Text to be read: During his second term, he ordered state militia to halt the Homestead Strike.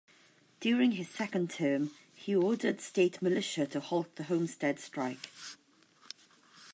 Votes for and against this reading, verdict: 2, 0, accepted